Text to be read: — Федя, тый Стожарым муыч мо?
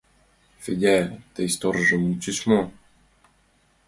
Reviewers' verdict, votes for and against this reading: rejected, 1, 2